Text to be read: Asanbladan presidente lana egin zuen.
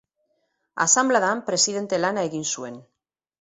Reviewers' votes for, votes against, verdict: 4, 0, accepted